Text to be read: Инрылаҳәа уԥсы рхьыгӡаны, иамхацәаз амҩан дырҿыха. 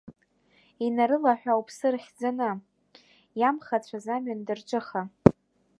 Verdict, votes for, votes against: rejected, 0, 2